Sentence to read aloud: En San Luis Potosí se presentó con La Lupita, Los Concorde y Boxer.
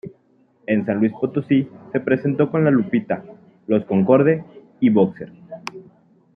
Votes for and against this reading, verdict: 2, 0, accepted